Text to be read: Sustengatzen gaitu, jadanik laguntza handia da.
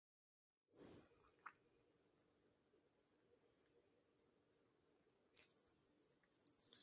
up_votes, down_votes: 0, 2